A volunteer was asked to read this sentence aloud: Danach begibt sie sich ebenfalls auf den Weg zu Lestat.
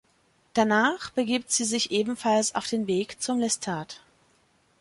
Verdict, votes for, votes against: rejected, 0, 2